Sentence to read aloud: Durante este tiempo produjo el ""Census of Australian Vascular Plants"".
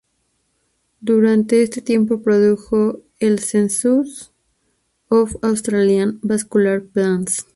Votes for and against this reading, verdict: 2, 2, rejected